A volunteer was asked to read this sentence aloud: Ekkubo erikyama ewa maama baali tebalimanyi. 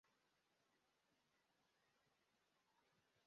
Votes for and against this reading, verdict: 0, 2, rejected